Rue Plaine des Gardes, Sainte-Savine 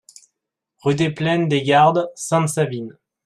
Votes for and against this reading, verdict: 0, 2, rejected